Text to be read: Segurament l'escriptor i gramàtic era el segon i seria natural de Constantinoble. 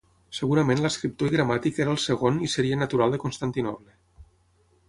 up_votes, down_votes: 0, 6